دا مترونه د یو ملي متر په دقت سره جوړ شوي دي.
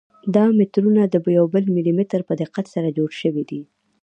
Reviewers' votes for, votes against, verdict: 0, 2, rejected